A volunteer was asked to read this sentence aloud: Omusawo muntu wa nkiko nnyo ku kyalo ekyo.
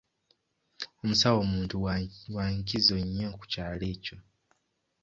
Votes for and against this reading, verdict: 1, 2, rejected